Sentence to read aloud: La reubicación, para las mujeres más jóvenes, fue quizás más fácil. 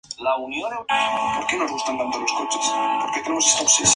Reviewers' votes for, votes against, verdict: 0, 4, rejected